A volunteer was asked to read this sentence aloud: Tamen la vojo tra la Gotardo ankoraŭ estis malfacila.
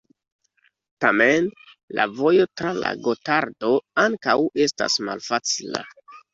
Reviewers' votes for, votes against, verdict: 0, 2, rejected